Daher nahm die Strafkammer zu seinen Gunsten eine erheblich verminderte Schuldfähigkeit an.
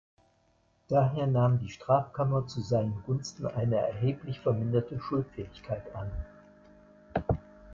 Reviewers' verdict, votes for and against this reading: rejected, 1, 2